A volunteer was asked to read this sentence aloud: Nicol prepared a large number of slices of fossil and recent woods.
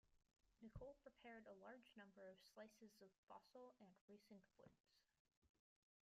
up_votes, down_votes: 0, 2